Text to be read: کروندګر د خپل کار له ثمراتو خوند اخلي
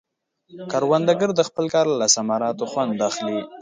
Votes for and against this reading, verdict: 1, 2, rejected